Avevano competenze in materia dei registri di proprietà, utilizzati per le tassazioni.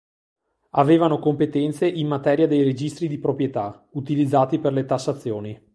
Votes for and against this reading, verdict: 2, 0, accepted